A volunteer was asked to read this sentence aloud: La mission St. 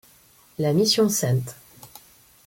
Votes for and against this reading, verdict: 1, 2, rejected